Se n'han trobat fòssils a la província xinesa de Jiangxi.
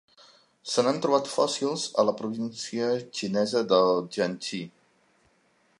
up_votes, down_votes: 2, 0